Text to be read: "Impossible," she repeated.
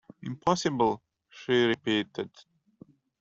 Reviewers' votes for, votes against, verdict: 2, 1, accepted